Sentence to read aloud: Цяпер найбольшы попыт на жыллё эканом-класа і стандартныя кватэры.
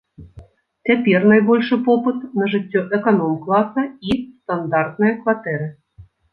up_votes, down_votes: 3, 4